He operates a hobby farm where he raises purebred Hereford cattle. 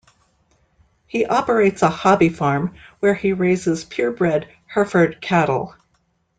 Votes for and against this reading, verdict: 2, 1, accepted